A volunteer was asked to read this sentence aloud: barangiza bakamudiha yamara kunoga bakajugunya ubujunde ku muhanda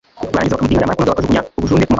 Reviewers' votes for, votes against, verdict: 1, 2, rejected